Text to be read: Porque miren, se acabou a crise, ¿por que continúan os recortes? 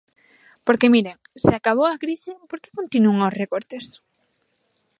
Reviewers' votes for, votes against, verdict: 0, 2, rejected